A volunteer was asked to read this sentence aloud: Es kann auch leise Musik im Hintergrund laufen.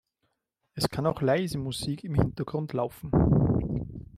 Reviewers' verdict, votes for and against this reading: rejected, 1, 2